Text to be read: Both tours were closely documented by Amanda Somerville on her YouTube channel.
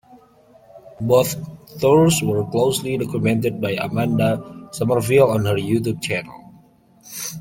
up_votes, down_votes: 0, 2